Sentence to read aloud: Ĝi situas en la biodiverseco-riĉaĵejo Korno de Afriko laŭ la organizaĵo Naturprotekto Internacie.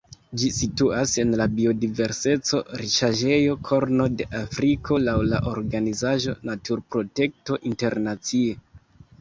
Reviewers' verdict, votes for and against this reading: accepted, 2, 0